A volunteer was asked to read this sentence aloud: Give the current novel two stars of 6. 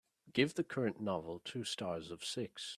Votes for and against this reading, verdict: 0, 2, rejected